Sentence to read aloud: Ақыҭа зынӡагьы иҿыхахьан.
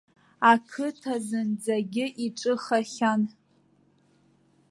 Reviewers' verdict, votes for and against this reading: rejected, 1, 2